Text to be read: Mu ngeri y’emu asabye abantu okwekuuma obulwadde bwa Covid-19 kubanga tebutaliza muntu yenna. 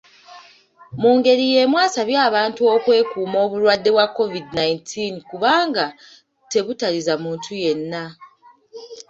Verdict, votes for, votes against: rejected, 0, 2